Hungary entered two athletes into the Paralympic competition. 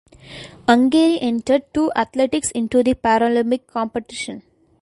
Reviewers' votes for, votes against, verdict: 0, 2, rejected